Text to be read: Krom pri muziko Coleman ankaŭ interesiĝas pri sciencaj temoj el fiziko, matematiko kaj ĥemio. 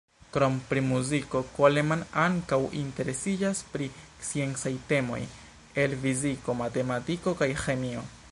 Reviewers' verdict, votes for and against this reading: accepted, 2, 1